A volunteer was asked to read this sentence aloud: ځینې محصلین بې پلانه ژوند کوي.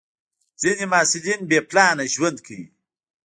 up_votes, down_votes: 0, 2